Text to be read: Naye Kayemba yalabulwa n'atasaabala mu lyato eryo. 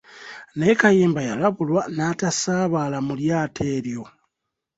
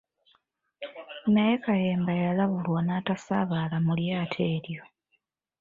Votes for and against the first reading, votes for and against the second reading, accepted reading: 2, 0, 1, 2, first